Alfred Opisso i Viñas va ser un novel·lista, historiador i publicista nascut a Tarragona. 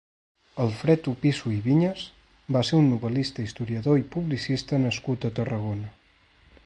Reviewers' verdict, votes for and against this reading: accepted, 2, 0